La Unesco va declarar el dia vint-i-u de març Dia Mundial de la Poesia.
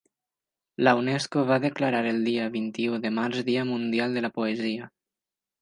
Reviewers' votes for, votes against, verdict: 2, 0, accepted